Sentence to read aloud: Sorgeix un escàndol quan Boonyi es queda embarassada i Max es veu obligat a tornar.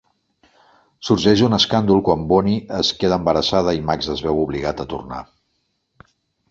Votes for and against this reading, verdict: 2, 0, accepted